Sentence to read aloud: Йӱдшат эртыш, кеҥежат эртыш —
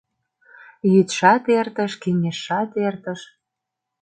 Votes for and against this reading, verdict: 0, 2, rejected